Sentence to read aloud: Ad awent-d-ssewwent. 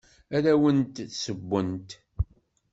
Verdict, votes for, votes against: accepted, 2, 0